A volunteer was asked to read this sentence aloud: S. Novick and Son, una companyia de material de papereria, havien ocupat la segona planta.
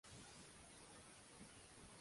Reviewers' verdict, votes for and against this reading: rejected, 0, 2